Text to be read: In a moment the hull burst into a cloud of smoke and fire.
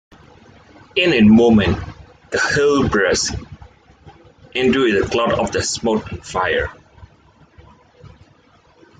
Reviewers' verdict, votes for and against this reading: rejected, 1, 2